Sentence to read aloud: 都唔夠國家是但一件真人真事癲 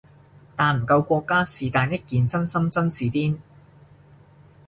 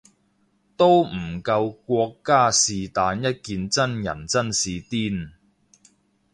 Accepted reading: second